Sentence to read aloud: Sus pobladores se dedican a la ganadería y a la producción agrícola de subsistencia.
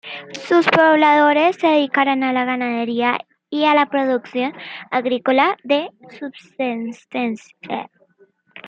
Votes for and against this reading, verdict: 0, 2, rejected